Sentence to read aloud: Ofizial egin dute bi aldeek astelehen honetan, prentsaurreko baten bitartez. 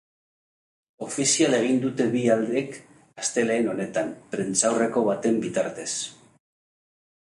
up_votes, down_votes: 2, 0